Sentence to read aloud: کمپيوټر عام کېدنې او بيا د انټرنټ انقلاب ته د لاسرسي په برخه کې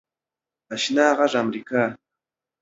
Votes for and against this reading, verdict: 0, 2, rejected